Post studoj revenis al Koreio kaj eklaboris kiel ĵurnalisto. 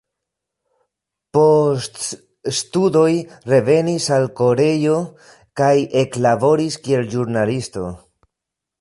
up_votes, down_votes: 1, 2